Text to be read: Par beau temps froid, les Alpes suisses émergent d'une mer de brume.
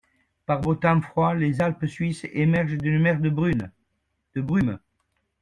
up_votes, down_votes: 1, 2